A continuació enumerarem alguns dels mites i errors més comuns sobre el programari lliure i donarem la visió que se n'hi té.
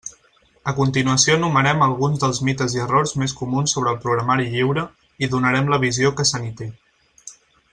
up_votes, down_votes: 2, 4